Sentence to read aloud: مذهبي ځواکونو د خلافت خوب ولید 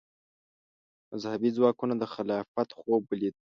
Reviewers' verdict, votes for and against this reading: accepted, 2, 0